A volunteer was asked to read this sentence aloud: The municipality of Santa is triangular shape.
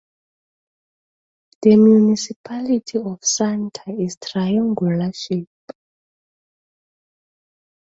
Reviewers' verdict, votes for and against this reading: accepted, 2, 0